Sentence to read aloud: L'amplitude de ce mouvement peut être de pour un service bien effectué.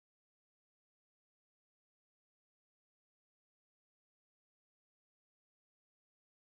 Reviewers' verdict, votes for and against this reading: rejected, 0, 2